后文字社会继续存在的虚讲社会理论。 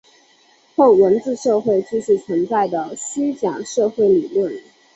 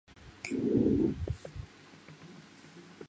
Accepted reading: first